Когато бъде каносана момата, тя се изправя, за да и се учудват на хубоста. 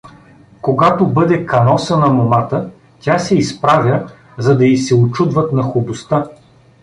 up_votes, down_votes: 2, 0